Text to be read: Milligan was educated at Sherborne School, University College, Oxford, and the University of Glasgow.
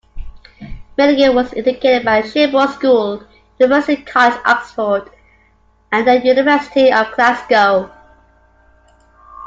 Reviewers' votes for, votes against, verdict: 2, 1, accepted